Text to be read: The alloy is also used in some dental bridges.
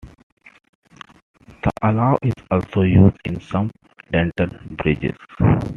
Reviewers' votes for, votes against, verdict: 2, 1, accepted